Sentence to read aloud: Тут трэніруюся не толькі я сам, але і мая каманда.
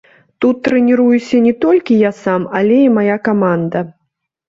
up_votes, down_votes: 1, 2